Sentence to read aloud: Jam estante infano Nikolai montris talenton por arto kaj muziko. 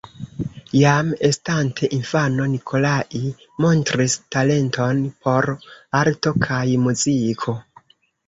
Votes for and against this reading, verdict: 0, 2, rejected